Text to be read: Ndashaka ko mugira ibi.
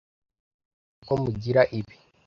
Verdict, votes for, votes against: rejected, 0, 2